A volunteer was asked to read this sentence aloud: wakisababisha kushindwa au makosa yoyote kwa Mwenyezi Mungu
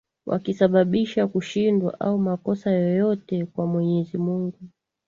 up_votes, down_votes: 2, 0